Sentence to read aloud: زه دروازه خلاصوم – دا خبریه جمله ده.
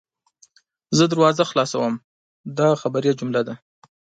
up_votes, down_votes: 2, 0